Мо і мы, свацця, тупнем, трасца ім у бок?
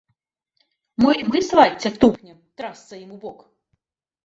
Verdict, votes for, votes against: rejected, 1, 2